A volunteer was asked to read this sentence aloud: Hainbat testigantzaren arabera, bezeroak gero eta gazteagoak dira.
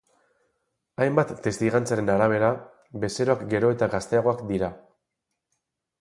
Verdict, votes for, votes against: accepted, 4, 0